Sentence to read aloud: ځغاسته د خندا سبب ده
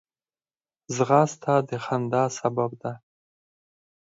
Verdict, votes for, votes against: accepted, 4, 0